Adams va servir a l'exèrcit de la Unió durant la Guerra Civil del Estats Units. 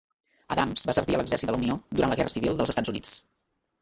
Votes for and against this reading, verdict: 1, 2, rejected